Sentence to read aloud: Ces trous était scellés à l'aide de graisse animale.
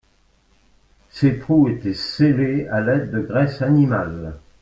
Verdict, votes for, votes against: accepted, 2, 0